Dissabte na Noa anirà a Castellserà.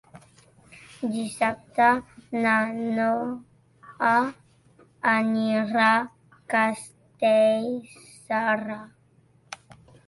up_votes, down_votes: 0, 2